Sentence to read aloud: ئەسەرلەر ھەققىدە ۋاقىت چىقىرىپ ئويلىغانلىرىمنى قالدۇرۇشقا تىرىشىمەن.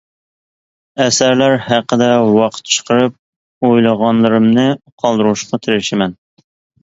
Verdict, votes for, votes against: accepted, 3, 0